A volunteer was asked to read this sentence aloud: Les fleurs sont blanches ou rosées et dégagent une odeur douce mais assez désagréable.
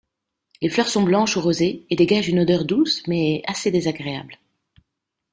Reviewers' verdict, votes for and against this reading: rejected, 1, 2